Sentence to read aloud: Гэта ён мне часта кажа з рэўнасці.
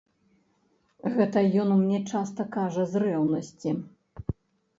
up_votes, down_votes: 2, 0